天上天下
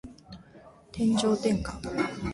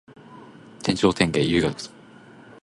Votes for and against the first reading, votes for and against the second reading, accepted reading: 2, 0, 0, 2, first